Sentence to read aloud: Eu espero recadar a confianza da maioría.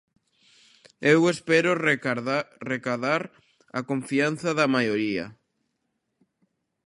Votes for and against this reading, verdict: 1, 2, rejected